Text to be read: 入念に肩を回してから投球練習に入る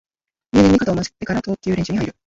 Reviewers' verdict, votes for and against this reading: rejected, 2, 3